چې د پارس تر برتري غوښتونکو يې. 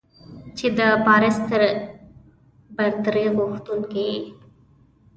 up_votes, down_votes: 1, 2